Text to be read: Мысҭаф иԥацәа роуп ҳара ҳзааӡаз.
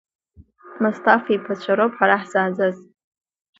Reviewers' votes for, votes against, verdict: 2, 0, accepted